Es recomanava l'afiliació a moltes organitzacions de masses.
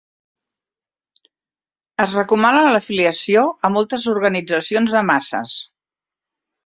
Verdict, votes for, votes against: rejected, 0, 2